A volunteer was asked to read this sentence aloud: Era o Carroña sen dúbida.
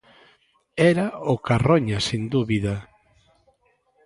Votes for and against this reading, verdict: 2, 0, accepted